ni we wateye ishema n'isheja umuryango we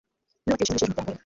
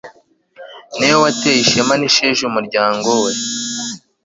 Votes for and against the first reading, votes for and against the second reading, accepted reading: 1, 2, 2, 0, second